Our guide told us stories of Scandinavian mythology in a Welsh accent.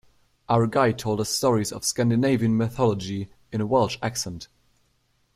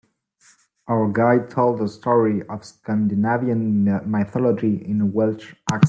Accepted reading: first